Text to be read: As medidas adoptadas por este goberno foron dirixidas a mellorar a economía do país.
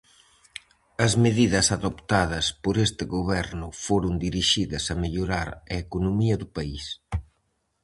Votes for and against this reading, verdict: 4, 0, accepted